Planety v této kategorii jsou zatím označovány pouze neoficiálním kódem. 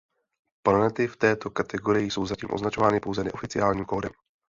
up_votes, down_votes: 2, 0